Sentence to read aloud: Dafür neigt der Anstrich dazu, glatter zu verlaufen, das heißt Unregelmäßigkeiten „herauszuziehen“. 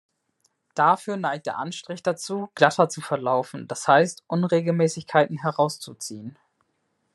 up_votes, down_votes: 2, 0